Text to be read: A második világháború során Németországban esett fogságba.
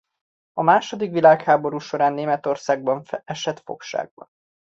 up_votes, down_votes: 0, 2